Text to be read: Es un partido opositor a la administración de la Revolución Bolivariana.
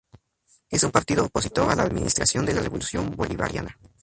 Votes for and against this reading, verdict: 0, 2, rejected